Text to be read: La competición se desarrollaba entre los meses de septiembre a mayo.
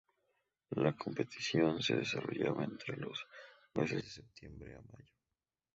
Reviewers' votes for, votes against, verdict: 0, 2, rejected